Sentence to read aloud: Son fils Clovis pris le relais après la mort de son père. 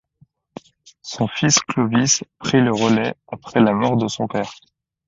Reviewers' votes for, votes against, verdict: 2, 0, accepted